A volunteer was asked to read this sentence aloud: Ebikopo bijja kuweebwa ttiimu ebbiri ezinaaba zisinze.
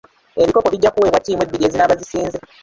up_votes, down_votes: 0, 3